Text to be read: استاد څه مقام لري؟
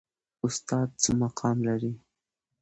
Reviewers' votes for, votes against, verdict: 2, 0, accepted